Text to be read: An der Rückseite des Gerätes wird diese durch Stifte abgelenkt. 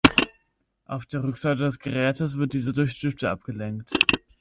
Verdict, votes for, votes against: rejected, 1, 2